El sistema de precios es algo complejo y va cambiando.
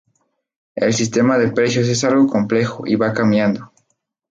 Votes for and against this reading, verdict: 2, 0, accepted